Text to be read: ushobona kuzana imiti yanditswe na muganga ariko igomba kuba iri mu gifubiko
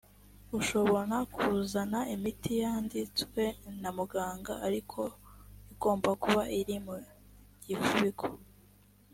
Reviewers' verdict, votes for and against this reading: accepted, 3, 0